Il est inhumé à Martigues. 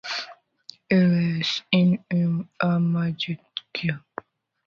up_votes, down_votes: 0, 2